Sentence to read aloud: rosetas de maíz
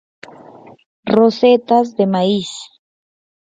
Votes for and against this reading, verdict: 0, 4, rejected